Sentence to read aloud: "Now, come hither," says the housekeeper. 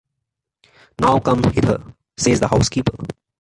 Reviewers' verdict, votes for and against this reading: accepted, 2, 0